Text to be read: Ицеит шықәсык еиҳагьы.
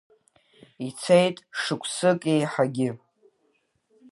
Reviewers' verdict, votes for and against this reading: accepted, 2, 0